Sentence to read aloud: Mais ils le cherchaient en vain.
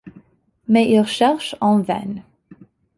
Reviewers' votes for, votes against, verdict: 2, 0, accepted